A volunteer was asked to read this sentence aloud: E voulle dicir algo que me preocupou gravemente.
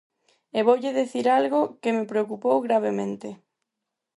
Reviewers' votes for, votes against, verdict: 4, 0, accepted